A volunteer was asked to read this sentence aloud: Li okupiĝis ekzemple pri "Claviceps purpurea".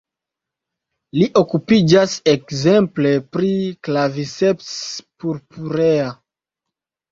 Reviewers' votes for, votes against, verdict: 1, 2, rejected